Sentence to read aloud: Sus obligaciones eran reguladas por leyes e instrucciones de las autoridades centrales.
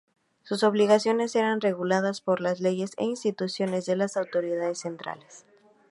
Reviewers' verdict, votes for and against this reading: rejected, 0, 2